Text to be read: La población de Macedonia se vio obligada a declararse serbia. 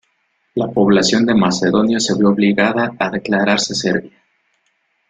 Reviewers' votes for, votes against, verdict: 1, 2, rejected